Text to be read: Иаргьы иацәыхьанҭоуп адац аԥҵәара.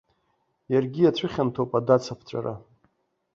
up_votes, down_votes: 2, 0